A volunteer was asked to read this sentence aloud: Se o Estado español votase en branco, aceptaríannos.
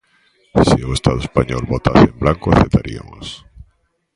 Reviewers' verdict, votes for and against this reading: rejected, 1, 2